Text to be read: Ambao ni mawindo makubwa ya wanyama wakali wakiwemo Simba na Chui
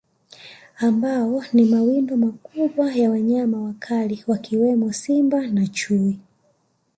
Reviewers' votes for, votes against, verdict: 1, 2, rejected